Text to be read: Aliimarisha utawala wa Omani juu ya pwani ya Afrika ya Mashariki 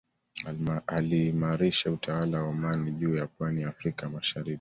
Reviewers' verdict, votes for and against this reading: accepted, 2, 1